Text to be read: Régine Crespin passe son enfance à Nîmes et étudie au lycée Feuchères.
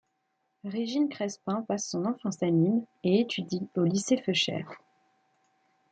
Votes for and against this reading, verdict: 2, 0, accepted